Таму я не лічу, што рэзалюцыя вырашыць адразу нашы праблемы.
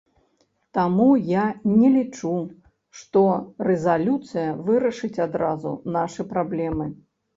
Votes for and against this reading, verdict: 2, 0, accepted